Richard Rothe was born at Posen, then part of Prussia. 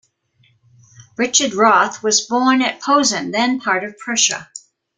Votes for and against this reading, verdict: 2, 0, accepted